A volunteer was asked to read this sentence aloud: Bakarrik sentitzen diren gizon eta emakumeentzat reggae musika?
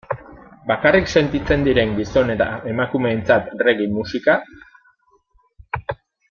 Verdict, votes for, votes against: accepted, 3, 0